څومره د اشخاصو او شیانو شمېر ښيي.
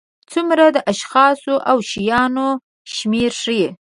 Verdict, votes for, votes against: accepted, 2, 0